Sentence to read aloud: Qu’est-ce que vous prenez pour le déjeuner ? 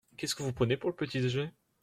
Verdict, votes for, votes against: rejected, 0, 2